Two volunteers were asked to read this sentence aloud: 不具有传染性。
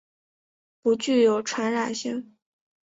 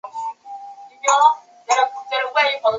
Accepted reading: first